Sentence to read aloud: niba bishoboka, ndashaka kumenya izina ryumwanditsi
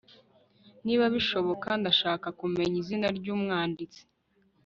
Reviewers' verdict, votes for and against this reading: accepted, 2, 0